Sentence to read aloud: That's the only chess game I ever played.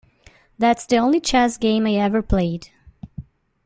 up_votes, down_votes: 2, 1